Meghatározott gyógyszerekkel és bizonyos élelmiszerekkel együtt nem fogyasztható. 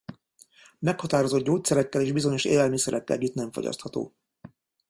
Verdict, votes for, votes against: rejected, 0, 2